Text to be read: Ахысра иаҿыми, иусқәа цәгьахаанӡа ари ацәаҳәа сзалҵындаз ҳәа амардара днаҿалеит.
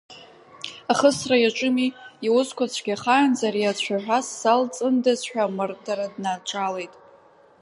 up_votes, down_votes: 1, 2